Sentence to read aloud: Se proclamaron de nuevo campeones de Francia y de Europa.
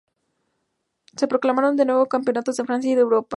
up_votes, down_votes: 2, 0